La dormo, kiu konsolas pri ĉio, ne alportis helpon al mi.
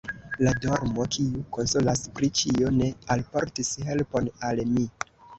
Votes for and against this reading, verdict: 2, 0, accepted